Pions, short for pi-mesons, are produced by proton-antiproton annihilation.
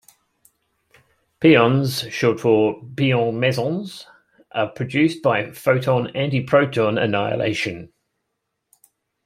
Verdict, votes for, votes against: rejected, 1, 2